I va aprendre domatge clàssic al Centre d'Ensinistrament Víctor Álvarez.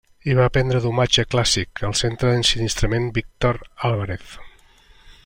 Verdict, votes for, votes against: accepted, 2, 0